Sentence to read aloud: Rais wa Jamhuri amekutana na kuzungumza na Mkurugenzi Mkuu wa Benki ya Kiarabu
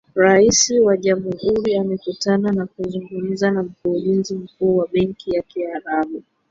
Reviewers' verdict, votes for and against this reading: rejected, 0, 2